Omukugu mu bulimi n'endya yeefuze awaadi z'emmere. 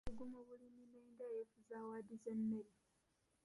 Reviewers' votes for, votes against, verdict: 1, 2, rejected